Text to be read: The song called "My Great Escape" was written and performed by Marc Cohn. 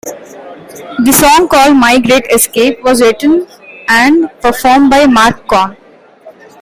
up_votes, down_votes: 2, 1